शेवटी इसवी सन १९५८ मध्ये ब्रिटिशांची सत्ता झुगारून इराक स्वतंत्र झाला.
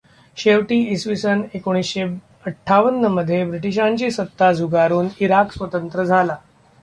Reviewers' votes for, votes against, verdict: 0, 2, rejected